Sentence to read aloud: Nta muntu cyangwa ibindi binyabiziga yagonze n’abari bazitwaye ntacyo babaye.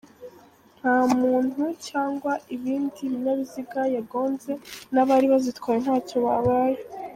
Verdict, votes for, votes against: accepted, 2, 0